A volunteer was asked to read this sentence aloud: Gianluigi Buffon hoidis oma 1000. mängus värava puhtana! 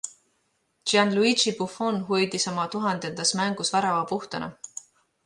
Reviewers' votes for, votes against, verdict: 0, 2, rejected